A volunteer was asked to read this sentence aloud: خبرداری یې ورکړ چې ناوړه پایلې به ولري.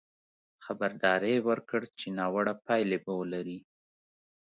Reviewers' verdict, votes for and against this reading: accepted, 2, 0